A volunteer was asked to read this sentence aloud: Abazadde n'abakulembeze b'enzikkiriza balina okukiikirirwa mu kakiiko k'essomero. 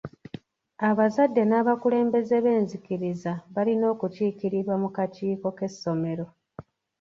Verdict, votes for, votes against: accepted, 2, 0